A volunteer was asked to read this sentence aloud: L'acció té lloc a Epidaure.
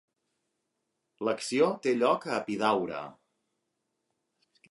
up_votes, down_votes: 2, 0